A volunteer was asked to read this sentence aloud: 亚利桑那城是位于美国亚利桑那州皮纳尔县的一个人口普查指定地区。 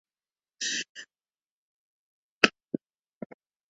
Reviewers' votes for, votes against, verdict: 1, 2, rejected